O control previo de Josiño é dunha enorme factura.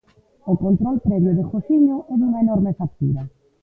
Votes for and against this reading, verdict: 2, 0, accepted